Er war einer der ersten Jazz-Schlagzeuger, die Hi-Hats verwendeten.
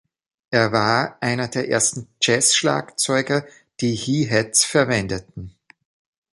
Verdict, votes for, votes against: rejected, 0, 2